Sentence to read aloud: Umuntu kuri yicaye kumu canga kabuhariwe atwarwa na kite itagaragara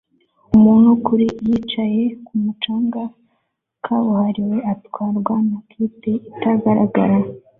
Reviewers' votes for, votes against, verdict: 2, 0, accepted